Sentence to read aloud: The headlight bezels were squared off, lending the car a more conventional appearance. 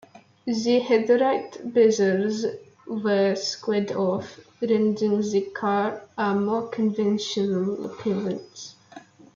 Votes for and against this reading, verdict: 0, 2, rejected